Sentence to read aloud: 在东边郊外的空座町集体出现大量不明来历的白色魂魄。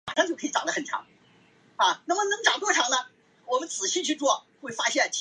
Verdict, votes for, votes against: rejected, 0, 2